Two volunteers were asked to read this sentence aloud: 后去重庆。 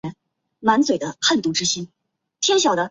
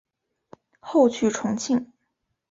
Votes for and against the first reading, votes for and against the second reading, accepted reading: 0, 2, 2, 0, second